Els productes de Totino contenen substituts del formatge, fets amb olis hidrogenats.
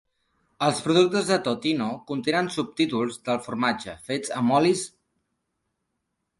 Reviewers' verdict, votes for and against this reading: rejected, 0, 2